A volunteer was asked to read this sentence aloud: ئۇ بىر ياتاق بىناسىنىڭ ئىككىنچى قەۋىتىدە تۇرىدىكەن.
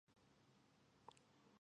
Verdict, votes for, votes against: rejected, 0, 2